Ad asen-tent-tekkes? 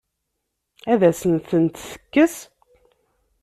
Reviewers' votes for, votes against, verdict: 1, 2, rejected